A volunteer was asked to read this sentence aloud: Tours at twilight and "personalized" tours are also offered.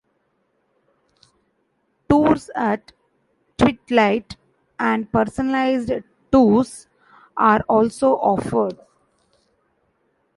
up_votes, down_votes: 0, 2